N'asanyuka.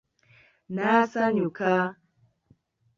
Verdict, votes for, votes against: accepted, 2, 0